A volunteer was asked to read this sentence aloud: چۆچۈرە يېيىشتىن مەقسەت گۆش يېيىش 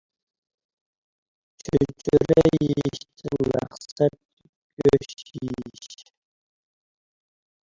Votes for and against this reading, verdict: 0, 2, rejected